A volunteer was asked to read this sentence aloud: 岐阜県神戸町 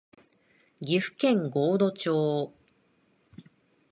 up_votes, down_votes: 16, 7